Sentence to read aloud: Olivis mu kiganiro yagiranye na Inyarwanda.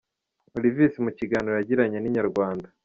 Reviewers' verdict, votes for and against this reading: accepted, 2, 1